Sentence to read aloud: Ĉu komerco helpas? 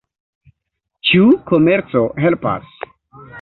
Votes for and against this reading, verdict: 2, 0, accepted